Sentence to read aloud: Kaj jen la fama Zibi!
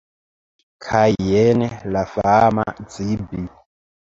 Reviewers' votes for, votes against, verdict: 1, 2, rejected